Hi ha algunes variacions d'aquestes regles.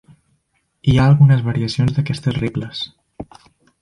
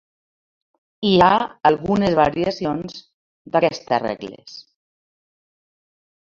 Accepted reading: first